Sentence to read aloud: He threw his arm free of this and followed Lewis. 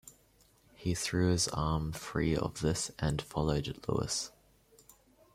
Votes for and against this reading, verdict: 0, 2, rejected